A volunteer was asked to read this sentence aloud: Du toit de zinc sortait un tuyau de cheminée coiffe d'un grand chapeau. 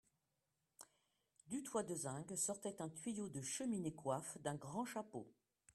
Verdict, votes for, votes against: accepted, 2, 1